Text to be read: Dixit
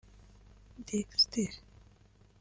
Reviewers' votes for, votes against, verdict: 1, 2, rejected